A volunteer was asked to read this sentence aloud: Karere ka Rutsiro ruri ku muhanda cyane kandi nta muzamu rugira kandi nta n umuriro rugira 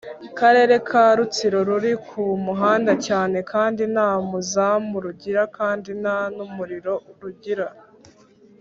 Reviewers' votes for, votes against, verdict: 3, 0, accepted